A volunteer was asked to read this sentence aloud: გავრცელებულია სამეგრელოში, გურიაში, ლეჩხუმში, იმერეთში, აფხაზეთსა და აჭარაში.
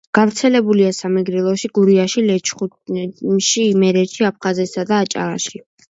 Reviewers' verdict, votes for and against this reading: rejected, 0, 2